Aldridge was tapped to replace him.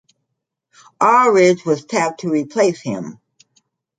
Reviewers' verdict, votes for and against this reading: accepted, 2, 0